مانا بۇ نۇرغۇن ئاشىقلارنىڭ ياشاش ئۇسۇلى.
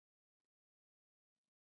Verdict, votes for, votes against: rejected, 0, 2